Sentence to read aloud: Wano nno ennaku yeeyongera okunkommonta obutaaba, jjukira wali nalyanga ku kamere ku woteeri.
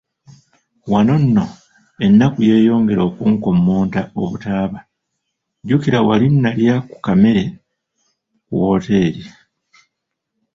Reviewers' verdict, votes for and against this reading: rejected, 0, 3